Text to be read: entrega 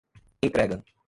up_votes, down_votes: 1, 2